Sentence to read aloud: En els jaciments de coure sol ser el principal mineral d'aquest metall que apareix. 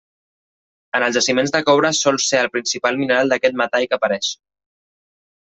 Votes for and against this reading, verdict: 2, 0, accepted